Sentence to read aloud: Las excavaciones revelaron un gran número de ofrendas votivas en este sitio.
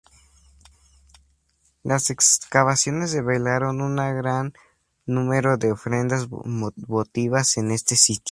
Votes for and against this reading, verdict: 2, 0, accepted